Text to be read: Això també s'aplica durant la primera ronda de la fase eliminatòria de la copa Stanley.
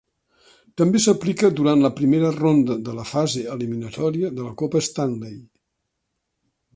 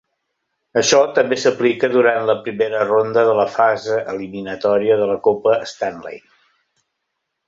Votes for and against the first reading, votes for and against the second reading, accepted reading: 0, 2, 3, 0, second